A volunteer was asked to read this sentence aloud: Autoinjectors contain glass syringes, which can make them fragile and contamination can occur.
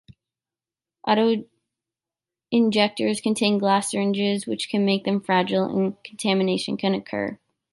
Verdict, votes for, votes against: rejected, 1, 2